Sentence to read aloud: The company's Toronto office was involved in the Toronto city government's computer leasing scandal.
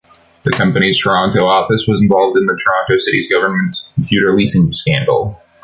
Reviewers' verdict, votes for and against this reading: rejected, 0, 2